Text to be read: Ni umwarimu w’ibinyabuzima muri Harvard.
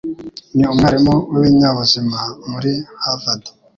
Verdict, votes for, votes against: accepted, 2, 0